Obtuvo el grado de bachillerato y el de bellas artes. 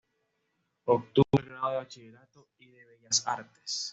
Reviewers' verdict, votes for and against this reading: rejected, 0, 2